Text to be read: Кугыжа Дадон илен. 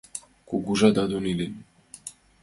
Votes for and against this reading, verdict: 3, 2, accepted